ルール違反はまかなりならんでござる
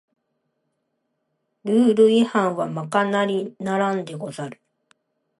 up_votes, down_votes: 2, 1